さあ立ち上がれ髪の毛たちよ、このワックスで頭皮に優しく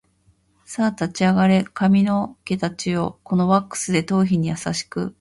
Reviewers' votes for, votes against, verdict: 2, 0, accepted